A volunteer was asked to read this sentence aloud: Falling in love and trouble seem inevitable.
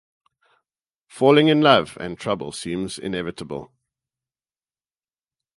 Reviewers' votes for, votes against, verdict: 0, 2, rejected